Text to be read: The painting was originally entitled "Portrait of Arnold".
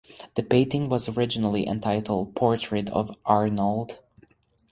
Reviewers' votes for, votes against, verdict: 4, 0, accepted